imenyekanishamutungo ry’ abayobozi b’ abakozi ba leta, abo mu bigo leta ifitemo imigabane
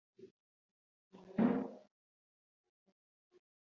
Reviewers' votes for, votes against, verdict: 0, 2, rejected